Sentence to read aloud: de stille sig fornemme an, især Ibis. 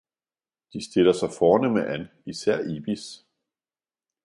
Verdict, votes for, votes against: rejected, 1, 2